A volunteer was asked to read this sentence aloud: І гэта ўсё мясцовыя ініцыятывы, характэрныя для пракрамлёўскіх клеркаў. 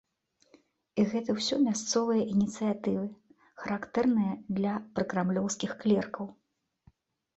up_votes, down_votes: 2, 0